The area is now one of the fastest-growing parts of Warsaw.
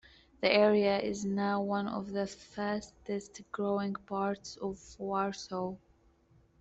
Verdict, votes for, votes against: accepted, 2, 0